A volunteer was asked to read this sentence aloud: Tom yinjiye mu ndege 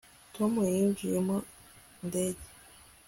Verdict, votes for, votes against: accepted, 2, 0